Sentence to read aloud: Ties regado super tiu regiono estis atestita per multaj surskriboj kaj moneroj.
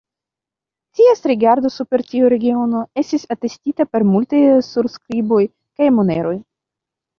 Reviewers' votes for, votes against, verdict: 1, 2, rejected